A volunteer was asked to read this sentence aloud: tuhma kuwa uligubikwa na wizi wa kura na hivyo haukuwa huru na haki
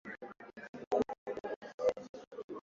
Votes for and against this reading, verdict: 0, 2, rejected